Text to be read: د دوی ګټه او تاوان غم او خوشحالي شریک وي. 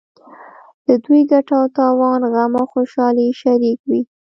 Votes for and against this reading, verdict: 1, 2, rejected